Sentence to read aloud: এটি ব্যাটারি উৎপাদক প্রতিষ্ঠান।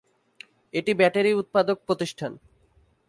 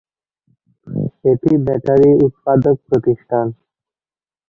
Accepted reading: first